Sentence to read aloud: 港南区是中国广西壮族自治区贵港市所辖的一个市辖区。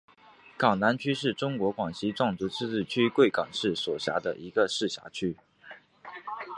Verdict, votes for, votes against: accepted, 2, 0